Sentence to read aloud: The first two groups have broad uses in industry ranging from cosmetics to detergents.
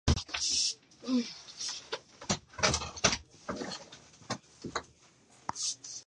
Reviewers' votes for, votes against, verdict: 0, 2, rejected